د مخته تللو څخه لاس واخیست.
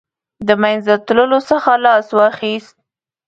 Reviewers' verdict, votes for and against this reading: rejected, 2, 3